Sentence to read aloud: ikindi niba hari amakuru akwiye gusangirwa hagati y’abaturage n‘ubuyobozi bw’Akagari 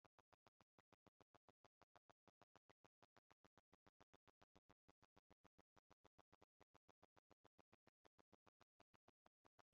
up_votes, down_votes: 1, 3